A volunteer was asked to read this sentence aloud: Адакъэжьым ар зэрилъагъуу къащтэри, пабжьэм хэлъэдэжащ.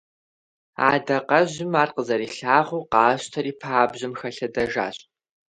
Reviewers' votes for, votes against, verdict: 0, 2, rejected